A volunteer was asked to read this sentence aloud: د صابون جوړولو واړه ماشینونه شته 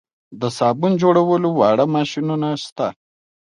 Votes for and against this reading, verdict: 2, 0, accepted